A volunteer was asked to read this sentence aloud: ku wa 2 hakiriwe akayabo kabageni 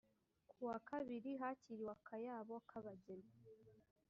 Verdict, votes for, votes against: rejected, 0, 2